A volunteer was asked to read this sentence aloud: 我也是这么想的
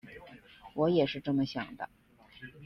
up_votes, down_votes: 2, 0